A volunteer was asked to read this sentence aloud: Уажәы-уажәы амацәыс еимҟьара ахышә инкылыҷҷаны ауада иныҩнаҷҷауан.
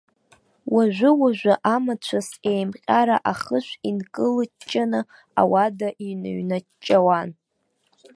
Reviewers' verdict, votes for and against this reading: accepted, 2, 0